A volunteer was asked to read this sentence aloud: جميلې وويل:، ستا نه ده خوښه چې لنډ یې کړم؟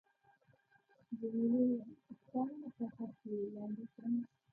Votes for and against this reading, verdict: 1, 2, rejected